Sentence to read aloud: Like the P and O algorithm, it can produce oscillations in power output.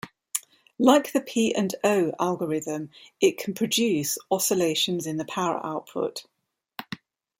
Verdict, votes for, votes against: rejected, 1, 2